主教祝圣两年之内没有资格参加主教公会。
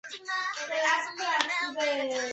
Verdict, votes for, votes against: rejected, 0, 2